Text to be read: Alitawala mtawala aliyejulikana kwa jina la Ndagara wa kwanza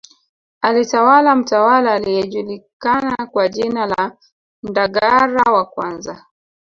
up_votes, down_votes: 2, 0